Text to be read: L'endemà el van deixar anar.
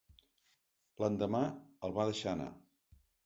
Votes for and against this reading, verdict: 1, 3, rejected